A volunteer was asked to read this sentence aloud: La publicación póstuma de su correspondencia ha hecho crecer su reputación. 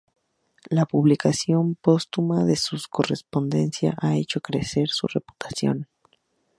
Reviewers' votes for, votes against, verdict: 0, 2, rejected